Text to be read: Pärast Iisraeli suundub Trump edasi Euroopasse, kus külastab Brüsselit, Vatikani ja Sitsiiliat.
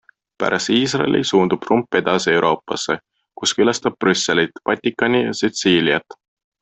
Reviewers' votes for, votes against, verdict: 2, 0, accepted